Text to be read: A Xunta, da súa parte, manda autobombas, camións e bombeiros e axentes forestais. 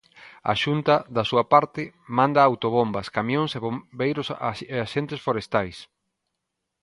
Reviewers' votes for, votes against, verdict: 0, 2, rejected